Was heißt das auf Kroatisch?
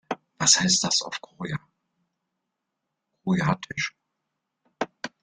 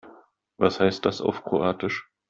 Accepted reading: second